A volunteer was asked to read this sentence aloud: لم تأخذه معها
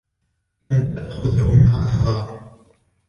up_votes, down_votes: 2, 0